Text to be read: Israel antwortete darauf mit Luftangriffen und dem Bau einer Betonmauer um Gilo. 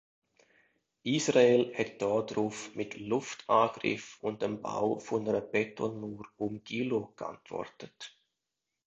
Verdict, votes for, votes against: rejected, 0, 2